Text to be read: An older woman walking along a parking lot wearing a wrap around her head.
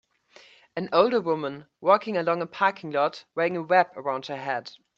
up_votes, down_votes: 2, 0